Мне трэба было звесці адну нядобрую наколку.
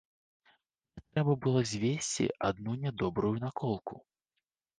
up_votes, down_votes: 0, 2